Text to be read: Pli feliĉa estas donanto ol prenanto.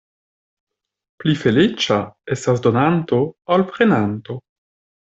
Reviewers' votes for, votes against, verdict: 2, 0, accepted